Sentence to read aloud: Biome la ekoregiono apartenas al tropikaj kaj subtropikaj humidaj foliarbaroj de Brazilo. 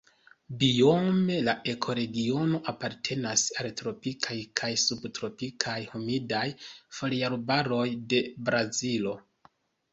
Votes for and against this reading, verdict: 2, 0, accepted